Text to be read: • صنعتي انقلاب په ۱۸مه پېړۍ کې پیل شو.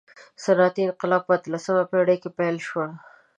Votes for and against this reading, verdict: 0, 2, rejected